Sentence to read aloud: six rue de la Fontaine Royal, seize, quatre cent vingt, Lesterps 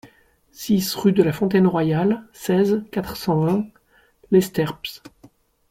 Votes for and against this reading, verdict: 2, 1, accepted